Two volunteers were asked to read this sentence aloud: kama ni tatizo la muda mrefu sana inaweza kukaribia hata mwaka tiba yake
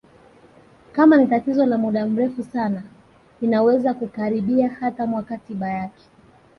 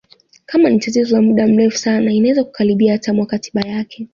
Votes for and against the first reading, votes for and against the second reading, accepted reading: 2, 3, 2, 0, second